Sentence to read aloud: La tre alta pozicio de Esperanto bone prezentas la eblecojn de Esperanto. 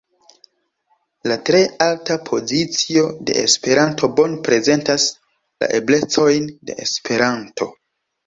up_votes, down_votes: 0, 2